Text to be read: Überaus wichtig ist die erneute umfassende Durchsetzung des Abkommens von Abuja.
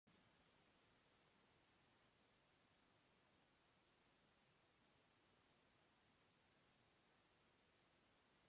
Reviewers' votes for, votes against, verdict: 0, 2, rejected